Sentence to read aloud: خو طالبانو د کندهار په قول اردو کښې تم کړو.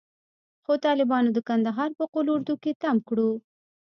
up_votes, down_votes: 1, 2